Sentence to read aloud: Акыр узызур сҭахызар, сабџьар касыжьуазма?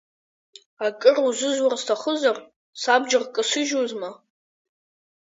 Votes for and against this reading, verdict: 5, 6, rejected